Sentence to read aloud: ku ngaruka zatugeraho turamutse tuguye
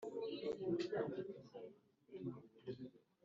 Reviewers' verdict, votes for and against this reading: rejected, 1, 2